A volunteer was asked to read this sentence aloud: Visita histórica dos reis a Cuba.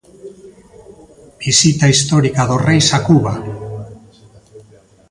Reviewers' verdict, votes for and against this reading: accepted, 2, 0